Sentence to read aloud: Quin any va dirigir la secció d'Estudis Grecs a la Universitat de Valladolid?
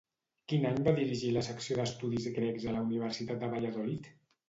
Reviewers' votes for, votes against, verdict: 2, 0, accepted